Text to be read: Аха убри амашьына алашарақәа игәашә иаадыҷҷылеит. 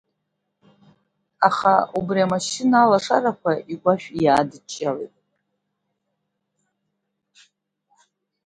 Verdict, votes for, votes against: rejected, 0, 2